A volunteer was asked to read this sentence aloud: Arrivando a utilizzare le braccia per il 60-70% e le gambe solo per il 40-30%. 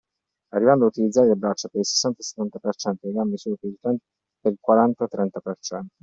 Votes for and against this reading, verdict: 0, 2, rejected